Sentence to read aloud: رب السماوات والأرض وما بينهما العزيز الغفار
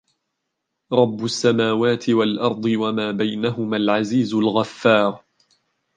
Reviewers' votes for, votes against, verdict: 1, 2, rejected